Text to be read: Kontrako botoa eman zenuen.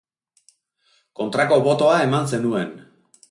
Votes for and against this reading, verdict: 3, 0, accepted